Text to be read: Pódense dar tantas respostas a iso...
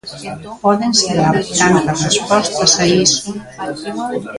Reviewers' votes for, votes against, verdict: 1, 2, rejected